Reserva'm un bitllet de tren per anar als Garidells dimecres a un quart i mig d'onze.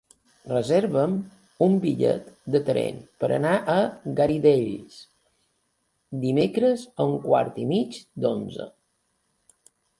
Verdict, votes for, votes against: rejected, 0, 2